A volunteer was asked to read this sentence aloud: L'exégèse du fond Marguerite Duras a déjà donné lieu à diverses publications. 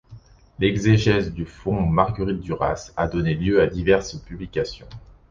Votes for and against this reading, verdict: 0, 2, rejected